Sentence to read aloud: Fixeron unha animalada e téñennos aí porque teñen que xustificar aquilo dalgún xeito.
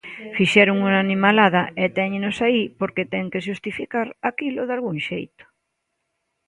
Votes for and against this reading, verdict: 0, 2, rejected